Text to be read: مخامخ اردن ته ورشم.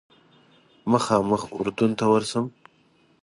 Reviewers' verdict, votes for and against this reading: accepted, 2, 0